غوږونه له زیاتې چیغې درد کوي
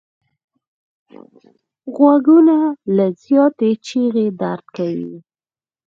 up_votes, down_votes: 4, 0